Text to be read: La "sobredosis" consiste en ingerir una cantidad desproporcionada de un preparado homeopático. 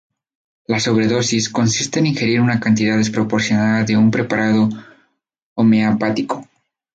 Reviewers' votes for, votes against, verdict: 2, 0, accepted